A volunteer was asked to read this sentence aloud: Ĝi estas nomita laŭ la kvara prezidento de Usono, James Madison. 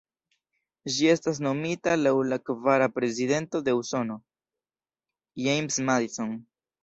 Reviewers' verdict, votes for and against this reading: rejected, 0, 2